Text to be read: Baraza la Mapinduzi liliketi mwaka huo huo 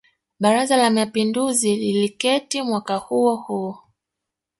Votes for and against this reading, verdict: 1, 2, rejected